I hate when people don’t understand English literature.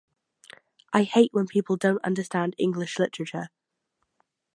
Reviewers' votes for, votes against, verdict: 0, 2, rejected